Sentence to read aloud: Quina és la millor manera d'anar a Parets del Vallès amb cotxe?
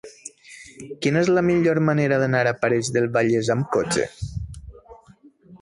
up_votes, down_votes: 2, 0